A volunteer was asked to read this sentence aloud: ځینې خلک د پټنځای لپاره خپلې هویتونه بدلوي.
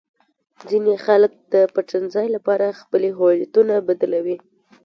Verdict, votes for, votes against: accepted, 2, 0